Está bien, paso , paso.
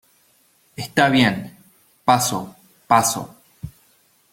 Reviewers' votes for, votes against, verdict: 2, 0, accepted